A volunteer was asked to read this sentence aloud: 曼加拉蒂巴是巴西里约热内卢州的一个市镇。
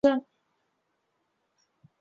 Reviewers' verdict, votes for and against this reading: rejected, 0, 2